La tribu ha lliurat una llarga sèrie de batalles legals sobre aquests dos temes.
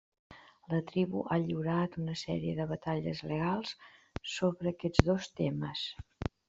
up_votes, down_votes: 1, 2